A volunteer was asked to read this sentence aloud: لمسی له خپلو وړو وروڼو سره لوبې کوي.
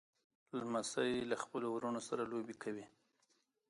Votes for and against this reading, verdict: 2, 1, accepted